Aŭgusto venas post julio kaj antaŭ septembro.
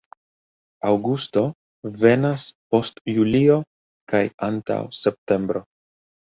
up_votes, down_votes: 2, 0